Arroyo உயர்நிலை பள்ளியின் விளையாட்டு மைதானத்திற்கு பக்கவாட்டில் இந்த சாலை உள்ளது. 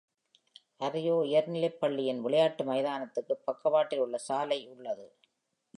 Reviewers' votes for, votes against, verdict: 1, 2, rejected